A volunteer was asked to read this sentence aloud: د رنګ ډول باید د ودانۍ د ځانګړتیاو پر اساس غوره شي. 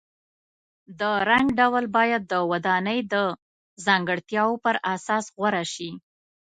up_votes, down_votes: 2, 1